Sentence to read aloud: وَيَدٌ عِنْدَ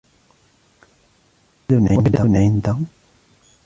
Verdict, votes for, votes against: rejected, 1, 2